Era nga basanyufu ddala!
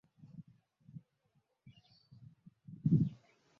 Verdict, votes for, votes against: rejected, 0, 2